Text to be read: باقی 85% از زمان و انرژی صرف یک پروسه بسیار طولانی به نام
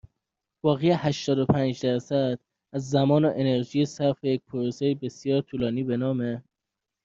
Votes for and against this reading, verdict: 0, 2, rejected